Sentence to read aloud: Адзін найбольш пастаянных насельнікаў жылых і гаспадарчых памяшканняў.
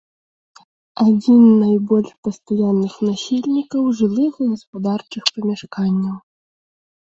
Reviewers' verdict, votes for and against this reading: rejected, 0, 2